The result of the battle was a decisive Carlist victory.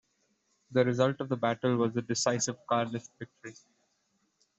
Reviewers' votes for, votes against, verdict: 2, 0, accepted